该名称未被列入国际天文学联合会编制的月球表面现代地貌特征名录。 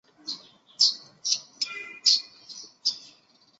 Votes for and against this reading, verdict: 1, 2, rejected